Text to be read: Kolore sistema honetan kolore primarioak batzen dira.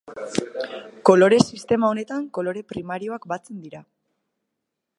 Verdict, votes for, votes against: rejected, 0, 2